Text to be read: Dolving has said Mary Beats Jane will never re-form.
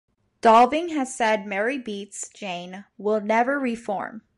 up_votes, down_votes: 2, 0